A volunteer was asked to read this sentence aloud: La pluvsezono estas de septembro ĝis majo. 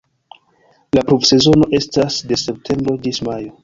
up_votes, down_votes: 2, 0